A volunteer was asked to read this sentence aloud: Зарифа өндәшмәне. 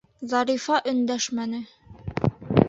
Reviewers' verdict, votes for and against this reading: accepted, 2, 0